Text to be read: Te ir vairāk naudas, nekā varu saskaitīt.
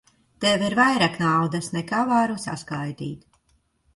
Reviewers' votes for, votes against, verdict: 0, 2, rejected